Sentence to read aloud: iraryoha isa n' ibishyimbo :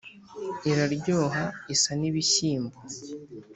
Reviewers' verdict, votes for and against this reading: accepted, 3, 0